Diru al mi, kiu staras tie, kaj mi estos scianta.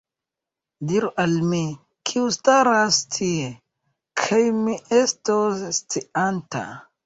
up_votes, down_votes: 0, 2